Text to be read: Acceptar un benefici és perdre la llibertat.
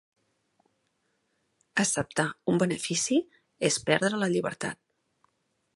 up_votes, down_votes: 2, 0